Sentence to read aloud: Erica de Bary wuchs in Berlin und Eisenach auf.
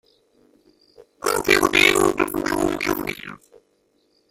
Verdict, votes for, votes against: rejected, 0, 2